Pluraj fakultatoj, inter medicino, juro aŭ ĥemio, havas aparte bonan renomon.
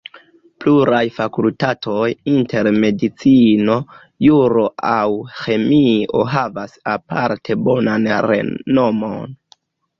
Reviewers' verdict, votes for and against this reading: rejected, 0, 2